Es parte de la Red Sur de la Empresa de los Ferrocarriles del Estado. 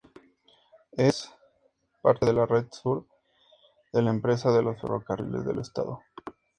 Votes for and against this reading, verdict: 2, 0, accepted